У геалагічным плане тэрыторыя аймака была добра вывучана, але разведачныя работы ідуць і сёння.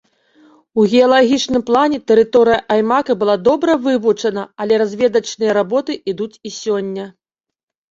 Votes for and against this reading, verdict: 2, 0, accepted